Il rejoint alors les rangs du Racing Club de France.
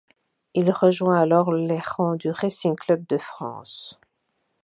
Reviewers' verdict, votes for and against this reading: accepted, 2, 0